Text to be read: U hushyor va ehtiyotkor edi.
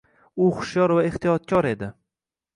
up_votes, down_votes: 2, 0